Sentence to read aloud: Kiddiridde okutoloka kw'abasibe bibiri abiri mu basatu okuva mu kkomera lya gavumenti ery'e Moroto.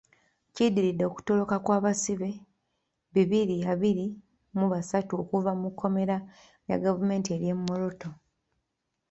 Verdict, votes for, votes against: rejected, 0, 2